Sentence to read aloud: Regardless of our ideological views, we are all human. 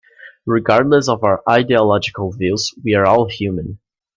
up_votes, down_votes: 2, 0